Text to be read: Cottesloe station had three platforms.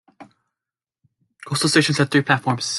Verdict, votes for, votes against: rejected, 1, 2